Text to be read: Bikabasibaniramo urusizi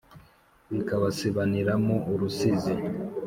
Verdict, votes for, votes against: accepted, 2, 0